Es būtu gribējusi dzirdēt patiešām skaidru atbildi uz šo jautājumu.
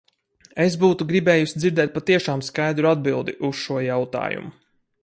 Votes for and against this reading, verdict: 4, 0, accepted